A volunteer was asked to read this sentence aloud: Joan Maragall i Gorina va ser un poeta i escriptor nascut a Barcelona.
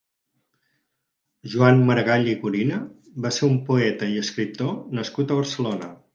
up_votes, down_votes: 4, 0